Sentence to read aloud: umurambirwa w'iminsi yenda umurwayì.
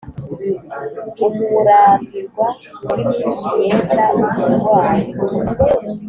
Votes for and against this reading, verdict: 2, 1, accepted